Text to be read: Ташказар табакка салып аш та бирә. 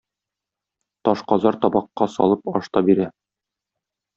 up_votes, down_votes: 2, 0